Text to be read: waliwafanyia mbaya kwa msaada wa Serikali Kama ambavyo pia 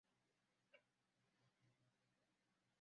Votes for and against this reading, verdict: 0, 2, rejected